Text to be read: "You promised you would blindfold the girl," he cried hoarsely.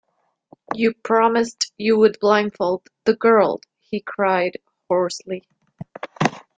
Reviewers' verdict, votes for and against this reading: accepted, 2, 0